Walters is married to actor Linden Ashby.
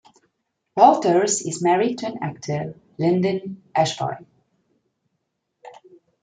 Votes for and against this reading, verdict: 1, 2, rejected